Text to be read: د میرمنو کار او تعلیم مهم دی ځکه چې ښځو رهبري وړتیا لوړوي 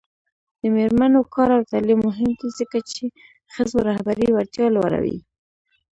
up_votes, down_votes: 1, 2